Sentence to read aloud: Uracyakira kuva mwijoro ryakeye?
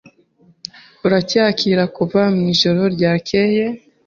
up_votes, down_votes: 3, 0